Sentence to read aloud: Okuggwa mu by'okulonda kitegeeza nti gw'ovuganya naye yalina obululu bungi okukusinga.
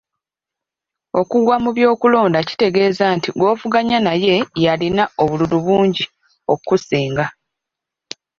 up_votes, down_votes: 1, 2